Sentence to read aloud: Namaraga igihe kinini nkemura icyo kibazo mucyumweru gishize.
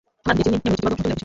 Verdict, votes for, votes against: rejected, 0, 2